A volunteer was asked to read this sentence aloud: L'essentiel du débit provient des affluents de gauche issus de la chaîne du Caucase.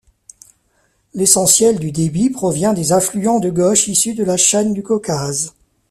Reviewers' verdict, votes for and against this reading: accepted, 2, 0